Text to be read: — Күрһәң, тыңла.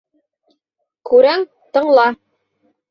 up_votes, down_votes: 1, 3